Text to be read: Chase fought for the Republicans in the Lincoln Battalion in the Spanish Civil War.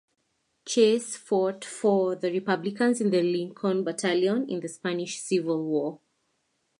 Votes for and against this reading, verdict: 2, 0, accepted